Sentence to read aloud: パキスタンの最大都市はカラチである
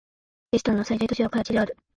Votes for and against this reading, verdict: 1, 2, rejected